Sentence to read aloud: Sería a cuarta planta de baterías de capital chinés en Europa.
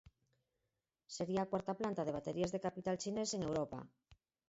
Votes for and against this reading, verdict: 0, 4, rejected